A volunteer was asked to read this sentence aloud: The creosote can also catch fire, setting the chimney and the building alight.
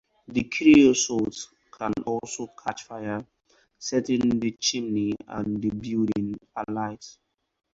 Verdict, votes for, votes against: accepted, 4, 0